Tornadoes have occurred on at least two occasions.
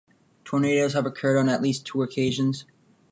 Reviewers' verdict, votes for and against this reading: rejected, 1, 2